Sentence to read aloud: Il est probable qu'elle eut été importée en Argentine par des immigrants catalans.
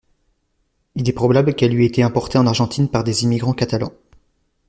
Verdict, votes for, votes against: rejected, 0, 2